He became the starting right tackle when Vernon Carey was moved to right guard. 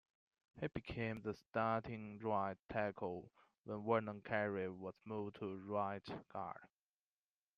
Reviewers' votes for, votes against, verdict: 2, 0, accepted